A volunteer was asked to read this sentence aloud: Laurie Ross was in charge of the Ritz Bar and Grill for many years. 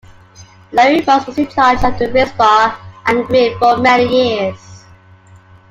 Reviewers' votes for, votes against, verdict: 2, 0, accepted